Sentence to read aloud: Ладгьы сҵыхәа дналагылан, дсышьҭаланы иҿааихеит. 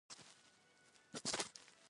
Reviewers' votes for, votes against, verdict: 0, 2, rejected